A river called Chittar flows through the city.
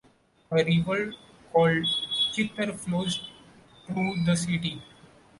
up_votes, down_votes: 0, 2